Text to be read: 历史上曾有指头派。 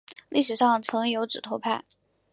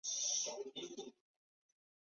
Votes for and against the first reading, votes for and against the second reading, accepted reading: 2, 0, 1, 5, first